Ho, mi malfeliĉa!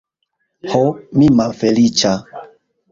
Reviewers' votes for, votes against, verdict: 0, 2, rejected